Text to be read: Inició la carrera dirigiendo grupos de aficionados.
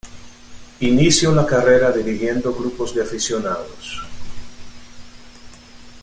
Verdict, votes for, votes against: rejected, 0, 2